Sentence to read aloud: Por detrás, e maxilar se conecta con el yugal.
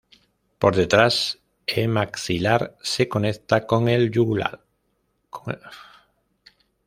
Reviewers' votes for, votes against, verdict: 0, 2, rejected